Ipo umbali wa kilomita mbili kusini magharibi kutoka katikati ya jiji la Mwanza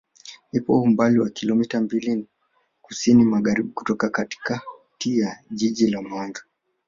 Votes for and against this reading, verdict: 2, 3, rejected